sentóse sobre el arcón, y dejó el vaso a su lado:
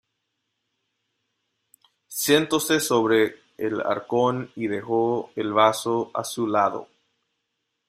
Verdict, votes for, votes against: accepted, 2, 0